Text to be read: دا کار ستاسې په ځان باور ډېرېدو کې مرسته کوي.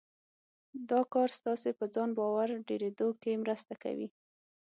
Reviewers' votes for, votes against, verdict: 9, 0, accepted